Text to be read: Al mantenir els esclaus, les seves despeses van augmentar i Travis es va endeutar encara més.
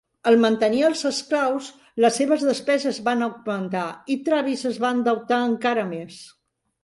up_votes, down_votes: 2, 1